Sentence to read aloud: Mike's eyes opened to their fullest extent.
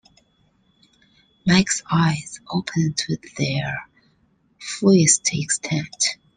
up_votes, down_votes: 2, 0